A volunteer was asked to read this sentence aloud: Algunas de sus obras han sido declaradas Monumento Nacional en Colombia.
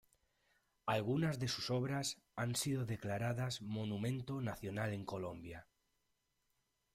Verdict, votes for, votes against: accepted, 2, 0